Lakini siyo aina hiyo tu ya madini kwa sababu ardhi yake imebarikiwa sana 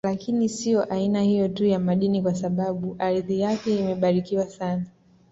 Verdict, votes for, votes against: accepted, 2, 0